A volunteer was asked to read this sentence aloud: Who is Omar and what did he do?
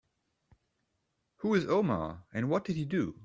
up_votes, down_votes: 2, 0